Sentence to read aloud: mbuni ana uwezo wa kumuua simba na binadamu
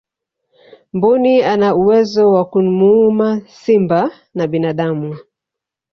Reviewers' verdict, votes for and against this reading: rejected, 1, 2